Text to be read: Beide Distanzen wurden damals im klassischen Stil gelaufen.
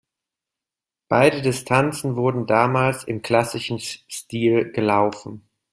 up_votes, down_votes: 0, 2